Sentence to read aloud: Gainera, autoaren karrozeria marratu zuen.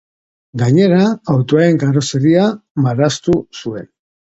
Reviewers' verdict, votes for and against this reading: rejected, 0, 6